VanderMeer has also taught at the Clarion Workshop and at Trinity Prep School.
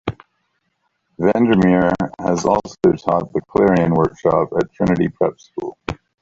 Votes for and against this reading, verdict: 1, 2, rejected